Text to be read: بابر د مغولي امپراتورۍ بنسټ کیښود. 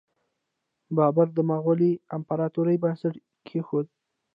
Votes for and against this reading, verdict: 0, 2, rejected